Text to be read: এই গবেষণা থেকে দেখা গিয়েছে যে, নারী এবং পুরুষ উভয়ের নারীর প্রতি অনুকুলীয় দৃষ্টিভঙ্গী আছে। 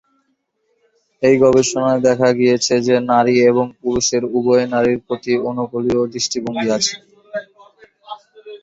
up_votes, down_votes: 1, 2